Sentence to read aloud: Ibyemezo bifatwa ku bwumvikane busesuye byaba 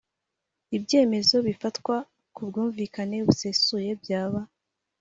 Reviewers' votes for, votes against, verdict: 5, 0, accepted